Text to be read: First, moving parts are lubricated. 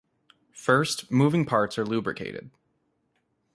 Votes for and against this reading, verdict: 2, 0, accepted